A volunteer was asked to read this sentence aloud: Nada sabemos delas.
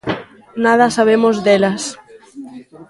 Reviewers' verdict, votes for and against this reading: rejected, 1, 2